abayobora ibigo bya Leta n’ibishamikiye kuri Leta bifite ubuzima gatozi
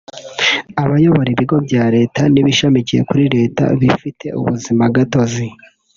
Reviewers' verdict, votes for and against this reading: accepted, 2, 0